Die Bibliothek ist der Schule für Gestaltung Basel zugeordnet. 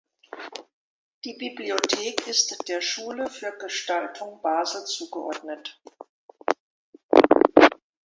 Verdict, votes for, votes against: accepted, 2, 0